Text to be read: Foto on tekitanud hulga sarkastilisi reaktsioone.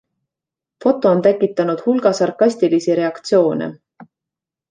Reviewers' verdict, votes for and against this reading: accepted, 2, 0